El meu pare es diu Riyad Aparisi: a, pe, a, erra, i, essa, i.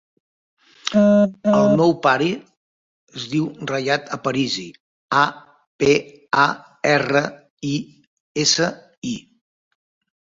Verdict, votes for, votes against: rejected, 1, 2